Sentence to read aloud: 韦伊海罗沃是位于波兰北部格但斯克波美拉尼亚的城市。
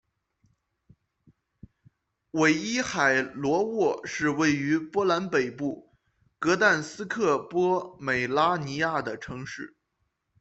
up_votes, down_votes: 2, 0